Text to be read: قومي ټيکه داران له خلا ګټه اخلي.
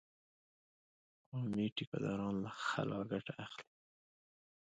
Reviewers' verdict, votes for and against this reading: accepted, 2, 0